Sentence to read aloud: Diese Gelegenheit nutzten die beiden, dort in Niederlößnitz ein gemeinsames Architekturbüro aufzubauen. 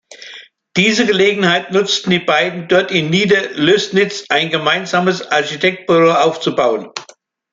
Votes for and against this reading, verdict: 0, 2, rejected